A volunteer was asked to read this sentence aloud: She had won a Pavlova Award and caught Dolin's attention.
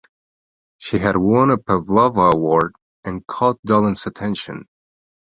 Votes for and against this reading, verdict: 1, 2, rejected